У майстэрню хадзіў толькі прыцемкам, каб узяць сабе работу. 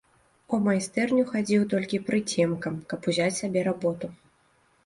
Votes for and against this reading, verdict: 0, 2, rejected